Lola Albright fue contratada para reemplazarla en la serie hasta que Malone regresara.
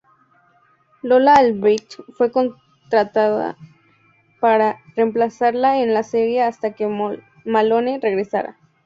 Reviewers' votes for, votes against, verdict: 0, 4, rejected